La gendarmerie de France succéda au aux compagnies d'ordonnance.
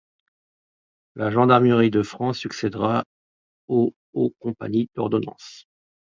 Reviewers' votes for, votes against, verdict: 0, 2, rejected